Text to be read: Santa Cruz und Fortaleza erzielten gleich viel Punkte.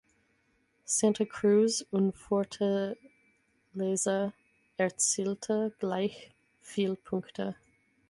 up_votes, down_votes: 0, 6